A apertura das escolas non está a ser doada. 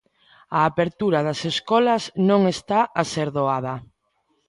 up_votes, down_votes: 2, 0